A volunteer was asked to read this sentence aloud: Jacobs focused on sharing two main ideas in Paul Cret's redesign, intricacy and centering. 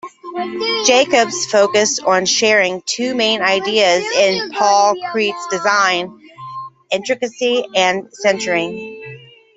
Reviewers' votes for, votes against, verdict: 0, 2, rejected